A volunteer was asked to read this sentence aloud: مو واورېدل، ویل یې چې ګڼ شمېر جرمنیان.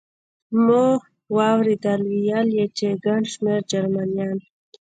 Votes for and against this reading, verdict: 1, 2, rejected